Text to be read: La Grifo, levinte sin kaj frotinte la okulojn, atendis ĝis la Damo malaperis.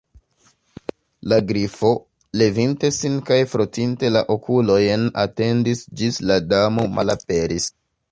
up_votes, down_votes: 2, 0